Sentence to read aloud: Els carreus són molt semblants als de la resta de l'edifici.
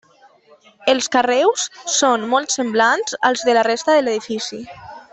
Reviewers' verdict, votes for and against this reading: accepted, 3, 1